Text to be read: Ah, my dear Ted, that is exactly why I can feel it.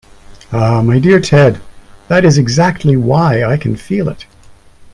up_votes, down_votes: 2, 0